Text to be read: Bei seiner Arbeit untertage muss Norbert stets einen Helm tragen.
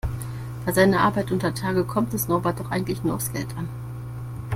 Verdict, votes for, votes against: rejected, 1, 2